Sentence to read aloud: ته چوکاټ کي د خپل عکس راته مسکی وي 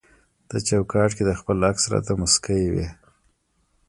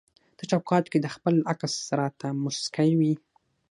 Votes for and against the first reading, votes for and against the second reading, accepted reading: 0, 2, 6, 3, second